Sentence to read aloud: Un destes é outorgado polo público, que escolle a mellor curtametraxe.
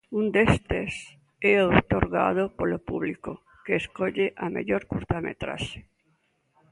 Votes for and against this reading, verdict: 2, 0, accepted